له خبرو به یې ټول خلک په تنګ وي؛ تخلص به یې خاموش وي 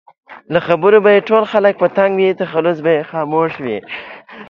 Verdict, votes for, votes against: accepted, 2, 0